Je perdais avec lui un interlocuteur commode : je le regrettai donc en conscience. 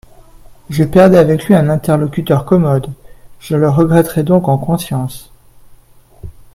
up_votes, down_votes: 0, 2